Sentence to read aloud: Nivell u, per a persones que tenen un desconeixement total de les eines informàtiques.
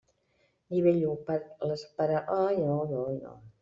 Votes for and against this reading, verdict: 0, 2, rejected